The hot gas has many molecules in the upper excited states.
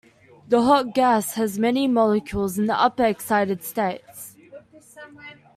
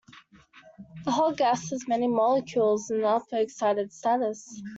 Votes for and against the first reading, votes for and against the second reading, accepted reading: 2, 0, 0, 2, first